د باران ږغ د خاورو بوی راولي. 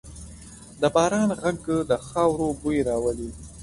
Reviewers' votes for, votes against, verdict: 3, 0, accepted